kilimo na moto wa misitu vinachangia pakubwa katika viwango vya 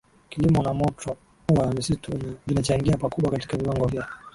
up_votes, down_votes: 3, 0